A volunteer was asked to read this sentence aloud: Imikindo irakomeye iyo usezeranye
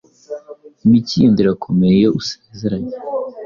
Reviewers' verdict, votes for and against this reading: accepted, 2, 0